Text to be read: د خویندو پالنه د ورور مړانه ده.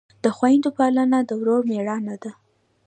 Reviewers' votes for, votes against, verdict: 0, 2, rejected